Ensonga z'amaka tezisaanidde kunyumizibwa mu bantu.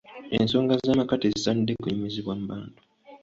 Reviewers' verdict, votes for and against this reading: accepted, 2, 0